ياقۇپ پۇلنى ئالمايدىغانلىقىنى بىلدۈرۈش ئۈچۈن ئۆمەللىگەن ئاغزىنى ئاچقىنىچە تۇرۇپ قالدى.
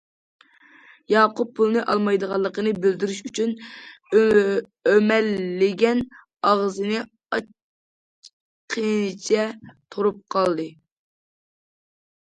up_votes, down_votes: 0, 2